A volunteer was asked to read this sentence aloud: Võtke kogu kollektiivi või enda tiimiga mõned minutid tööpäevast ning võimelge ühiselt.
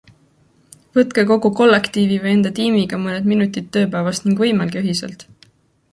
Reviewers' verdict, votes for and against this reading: accepted, 2, 0